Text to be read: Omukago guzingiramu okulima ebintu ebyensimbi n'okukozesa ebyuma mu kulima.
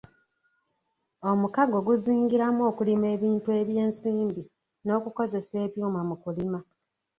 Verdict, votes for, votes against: accepted, 2, 1